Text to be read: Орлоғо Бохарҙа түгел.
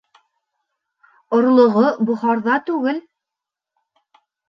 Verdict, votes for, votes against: accepted, 2, 0